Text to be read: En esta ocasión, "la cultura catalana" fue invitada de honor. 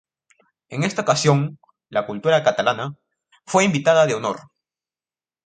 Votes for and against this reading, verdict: 2, 0, accepted